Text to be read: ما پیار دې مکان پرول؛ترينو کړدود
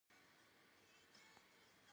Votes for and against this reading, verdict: 0, 2, rejected